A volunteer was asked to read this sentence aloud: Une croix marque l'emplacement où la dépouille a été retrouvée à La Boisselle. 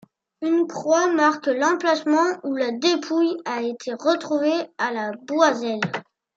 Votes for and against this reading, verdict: 1, 2, rejected